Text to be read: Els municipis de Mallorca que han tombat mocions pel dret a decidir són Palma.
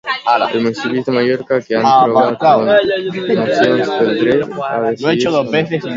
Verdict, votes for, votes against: rejected, 0, 2